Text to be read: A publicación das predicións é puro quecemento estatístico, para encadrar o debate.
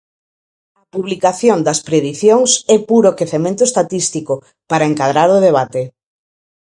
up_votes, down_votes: 0, 4